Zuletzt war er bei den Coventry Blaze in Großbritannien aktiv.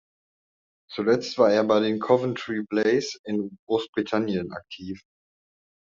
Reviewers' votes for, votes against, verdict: 2, 0, accepted